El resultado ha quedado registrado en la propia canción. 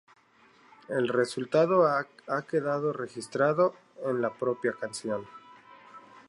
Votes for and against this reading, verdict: 0, 2, rejected